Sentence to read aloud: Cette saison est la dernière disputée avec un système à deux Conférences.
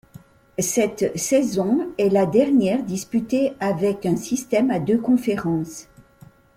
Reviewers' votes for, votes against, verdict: 2, 0, accepted